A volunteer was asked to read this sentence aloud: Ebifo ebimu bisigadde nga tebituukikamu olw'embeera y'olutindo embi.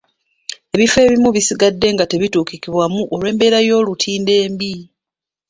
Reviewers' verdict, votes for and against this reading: rejected, 1, 2